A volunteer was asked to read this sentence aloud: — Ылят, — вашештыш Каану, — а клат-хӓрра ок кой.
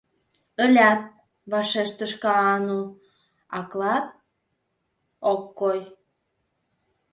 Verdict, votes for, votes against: rejected, 1, 2